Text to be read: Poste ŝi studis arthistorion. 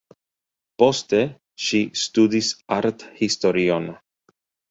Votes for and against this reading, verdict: 2, 1, accepted